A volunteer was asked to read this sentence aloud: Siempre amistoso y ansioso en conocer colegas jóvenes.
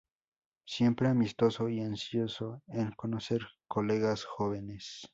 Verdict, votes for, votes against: rejected, 2, 2